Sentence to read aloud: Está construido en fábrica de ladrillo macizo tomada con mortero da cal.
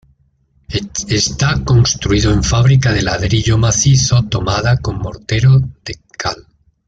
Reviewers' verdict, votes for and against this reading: rejected, 1, 2